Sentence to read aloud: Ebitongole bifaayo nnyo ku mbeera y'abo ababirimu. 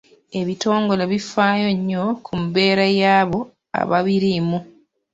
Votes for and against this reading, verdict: 0, 2, rejected